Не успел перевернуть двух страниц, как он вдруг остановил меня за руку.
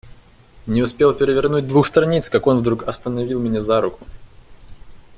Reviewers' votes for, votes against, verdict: 2, 0, accepted